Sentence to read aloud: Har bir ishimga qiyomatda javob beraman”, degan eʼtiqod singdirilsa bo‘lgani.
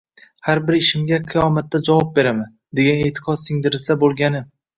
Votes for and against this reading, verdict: 1, 2, rejected